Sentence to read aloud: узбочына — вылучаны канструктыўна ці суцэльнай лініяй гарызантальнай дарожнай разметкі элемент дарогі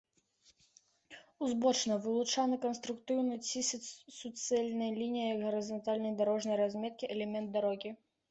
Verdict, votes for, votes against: rejected, 1, 2